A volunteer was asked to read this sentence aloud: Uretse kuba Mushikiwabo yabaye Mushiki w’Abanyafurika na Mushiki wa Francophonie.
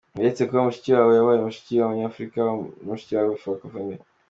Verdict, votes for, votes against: accepted, 2, 0